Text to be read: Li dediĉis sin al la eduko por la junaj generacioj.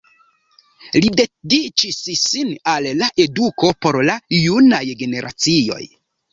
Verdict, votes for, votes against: accepted, 2, 0